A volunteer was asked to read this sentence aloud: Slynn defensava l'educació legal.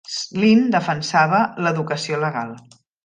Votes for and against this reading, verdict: 2, 0, accepted